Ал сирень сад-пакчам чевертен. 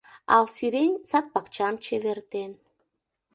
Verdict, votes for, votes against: accepted, 2, 0